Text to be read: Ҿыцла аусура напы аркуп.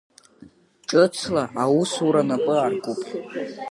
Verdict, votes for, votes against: accepted, 3, 0